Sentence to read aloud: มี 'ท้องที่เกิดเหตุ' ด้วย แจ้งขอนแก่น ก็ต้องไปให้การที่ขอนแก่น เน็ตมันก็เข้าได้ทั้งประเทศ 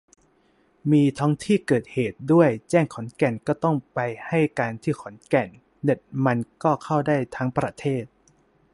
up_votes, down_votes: 2, 0